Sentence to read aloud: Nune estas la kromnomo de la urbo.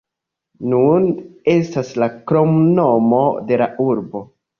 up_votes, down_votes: 1, 2